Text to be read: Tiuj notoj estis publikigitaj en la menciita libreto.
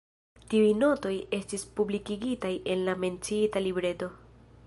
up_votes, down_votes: 0, 2